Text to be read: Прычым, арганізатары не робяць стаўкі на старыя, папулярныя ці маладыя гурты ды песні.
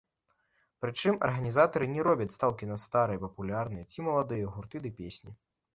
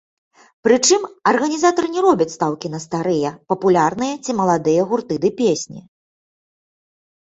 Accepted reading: second